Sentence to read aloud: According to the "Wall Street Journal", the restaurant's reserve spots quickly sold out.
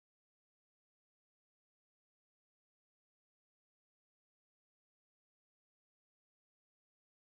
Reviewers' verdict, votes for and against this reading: rejected, 0, 2